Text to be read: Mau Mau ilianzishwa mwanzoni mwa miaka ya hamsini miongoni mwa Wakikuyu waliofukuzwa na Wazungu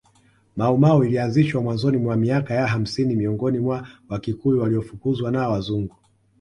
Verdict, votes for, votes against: accepted, 2, 1